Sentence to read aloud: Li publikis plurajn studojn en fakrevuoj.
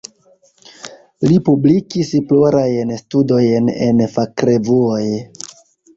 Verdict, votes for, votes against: accepted, 2, 0